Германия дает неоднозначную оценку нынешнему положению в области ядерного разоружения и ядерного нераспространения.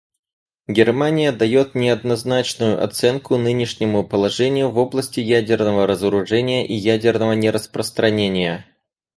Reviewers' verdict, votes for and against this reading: accepted, 4, 0